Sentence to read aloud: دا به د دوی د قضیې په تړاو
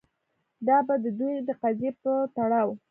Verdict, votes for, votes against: rejected, 1, 2